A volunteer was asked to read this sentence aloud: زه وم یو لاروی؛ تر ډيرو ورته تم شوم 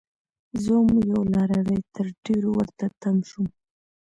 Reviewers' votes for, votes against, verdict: 2, 0, accepted